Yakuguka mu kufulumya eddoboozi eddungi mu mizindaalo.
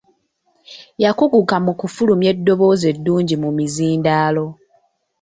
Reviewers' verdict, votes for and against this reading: accepted, 3, 0